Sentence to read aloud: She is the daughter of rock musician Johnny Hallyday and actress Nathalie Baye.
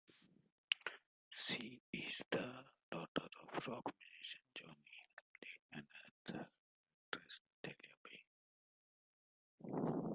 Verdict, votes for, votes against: rejected, 0, 2